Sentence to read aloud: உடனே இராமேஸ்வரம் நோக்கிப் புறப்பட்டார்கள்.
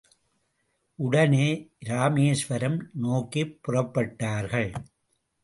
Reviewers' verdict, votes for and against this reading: accepted, 3, 0